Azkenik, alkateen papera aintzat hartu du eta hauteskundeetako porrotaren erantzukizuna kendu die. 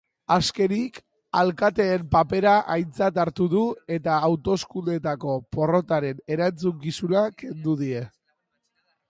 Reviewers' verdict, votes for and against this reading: rejected, 0, 2